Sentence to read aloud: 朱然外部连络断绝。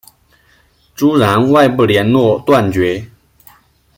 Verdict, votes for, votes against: rejected, 1, 2